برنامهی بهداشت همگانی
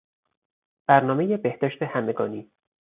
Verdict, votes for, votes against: accepted, 4, 0